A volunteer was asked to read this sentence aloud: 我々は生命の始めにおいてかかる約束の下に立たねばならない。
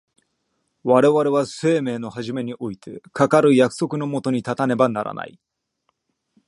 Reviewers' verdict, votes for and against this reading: accepted, 2, 0